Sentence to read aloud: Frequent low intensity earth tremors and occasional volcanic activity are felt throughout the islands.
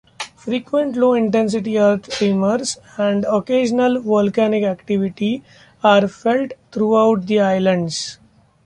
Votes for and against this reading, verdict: 2, 0, accepted